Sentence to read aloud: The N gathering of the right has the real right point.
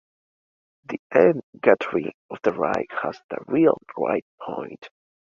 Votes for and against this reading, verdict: 2, 1, accepted